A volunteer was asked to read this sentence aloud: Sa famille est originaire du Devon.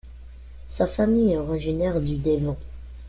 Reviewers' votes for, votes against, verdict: 0, 2, rejected